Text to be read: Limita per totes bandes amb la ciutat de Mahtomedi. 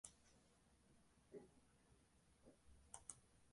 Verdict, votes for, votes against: rejected, 0, 2